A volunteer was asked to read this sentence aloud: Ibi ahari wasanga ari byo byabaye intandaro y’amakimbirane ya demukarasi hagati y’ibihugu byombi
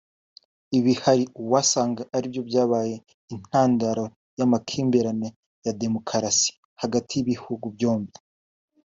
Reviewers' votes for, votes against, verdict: 2, 0, accepted